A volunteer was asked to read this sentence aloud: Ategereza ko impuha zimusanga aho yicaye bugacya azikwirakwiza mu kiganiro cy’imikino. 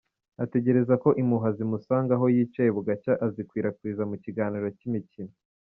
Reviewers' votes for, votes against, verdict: 2, 0, accepted